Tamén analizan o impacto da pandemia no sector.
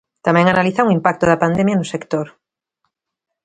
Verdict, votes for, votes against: accepted, 2, 0